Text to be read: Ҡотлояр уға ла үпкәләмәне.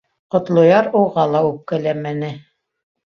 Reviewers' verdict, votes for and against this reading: accepted, 2, 0